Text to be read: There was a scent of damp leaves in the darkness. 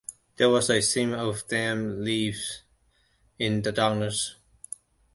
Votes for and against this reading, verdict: 0, 2, rejected